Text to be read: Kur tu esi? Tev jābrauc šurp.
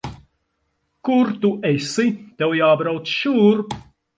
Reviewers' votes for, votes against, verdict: 4, 2, accepted